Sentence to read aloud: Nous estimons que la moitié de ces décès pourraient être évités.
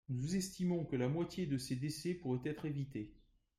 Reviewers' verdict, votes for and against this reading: accepted, 3, 0